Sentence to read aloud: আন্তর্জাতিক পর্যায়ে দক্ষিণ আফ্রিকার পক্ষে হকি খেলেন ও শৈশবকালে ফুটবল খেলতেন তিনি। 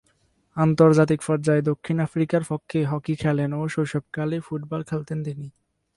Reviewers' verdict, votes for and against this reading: rejected, 0, 2